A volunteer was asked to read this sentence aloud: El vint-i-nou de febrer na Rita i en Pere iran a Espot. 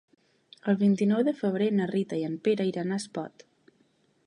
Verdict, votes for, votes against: accepted, 4, 0